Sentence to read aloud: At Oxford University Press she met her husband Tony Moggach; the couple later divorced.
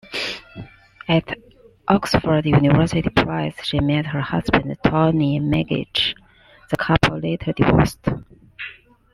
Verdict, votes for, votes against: rejected, 1, 2